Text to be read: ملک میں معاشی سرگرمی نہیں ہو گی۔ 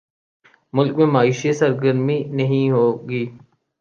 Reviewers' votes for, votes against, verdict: 2, 0, accepted